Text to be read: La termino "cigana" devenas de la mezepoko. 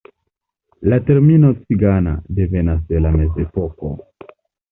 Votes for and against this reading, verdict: 2, 0, accepted